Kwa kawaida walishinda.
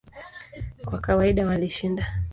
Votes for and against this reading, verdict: 2, 1, accepted